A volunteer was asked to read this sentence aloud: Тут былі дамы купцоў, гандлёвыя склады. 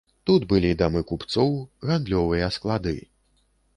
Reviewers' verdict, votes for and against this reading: accepted, 2, 0